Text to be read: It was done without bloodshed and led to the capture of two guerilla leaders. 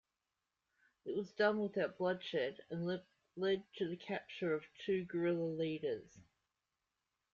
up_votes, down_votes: 2, 1